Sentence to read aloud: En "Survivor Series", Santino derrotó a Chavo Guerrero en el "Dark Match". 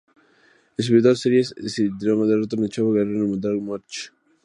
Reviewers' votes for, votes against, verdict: 0, 2, rejected